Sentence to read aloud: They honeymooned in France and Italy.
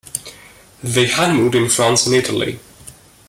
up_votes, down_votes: 2, 0